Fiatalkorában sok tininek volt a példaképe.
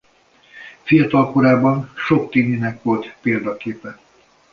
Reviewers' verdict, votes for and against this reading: rejected, 0, 2